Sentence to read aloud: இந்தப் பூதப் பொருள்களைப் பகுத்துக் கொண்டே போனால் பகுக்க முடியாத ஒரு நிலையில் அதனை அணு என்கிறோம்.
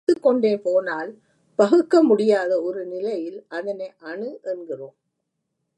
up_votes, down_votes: 0, 2